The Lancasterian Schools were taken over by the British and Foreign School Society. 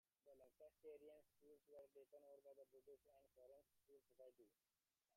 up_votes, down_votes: 1, 2